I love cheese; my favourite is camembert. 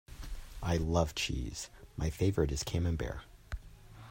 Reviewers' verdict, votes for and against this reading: rejected, 1, 2